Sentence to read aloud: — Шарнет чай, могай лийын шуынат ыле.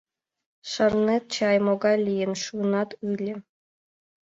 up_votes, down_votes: 2, 0